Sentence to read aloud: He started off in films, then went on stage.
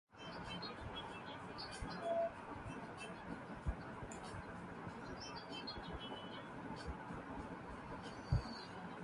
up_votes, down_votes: 0, 2